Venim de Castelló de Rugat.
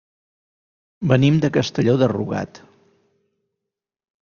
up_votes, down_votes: 3, 0